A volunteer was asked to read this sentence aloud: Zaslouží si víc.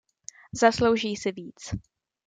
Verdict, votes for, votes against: accepted, 2, 0